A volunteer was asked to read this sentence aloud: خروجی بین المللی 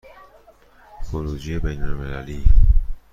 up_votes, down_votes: 2, 0